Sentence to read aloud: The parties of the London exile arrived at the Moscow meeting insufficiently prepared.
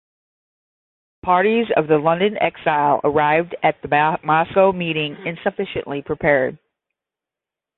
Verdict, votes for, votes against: rejected, 0, 10